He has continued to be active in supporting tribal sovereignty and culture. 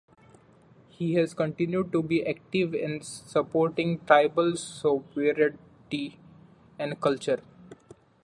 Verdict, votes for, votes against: accepted, 2, 1